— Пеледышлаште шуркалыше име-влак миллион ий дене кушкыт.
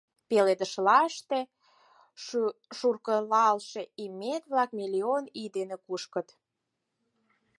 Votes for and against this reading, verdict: 0, 4, rejected